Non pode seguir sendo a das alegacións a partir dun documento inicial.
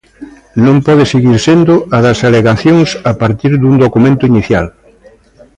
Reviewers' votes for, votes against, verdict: 2, 0, accepted